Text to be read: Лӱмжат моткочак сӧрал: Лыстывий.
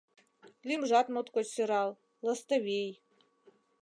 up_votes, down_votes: 2, 1